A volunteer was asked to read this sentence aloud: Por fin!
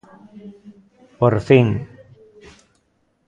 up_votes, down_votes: 2, 0